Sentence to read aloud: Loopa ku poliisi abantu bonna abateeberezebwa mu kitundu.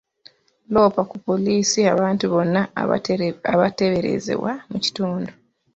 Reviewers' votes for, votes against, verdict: 1, 2, rejected